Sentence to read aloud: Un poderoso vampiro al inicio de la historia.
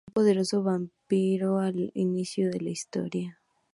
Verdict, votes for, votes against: accepted, 2, 0